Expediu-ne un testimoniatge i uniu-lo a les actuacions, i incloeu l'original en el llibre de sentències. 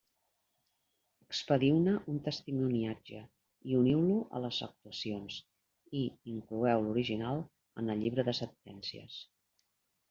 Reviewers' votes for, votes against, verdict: 2, 0, accepted